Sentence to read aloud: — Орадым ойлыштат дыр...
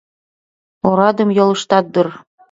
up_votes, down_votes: 2, 1